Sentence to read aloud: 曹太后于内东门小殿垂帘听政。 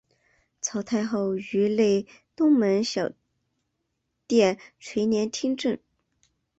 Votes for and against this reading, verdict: 1, 2, rejected